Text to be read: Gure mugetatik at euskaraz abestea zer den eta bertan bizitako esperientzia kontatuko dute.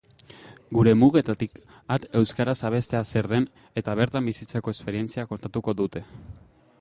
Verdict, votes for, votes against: accepted, 2, 1